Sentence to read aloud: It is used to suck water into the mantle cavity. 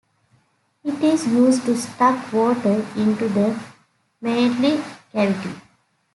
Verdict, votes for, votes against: rejected, 0, 2